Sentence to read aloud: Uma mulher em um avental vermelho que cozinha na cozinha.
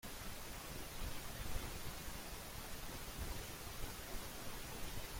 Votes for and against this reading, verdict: 0, 2, rejected